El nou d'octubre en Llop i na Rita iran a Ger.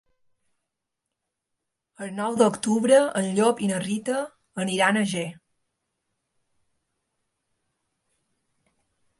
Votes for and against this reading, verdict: 1, 2, rejected